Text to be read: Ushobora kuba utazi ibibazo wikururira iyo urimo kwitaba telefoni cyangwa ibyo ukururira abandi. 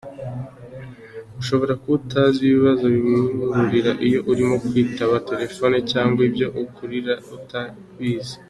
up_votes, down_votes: 0, 2